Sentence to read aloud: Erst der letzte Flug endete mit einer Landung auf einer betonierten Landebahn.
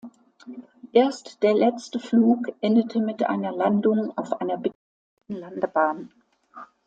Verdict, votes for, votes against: rejected, 0, 2